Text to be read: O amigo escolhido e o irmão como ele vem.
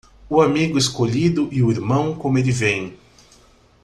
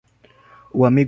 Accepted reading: first